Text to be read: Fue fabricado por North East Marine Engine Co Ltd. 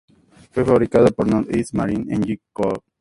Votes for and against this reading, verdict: 0, 2, rejected